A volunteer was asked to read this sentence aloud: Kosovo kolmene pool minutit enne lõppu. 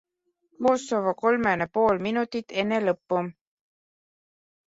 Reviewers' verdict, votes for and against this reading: rejected, 1, 2